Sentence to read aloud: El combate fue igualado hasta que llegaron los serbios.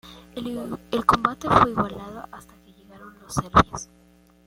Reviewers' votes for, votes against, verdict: 1, 2, rejected